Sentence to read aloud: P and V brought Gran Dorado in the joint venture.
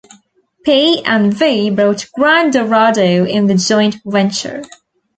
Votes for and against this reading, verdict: 2, 1, accepted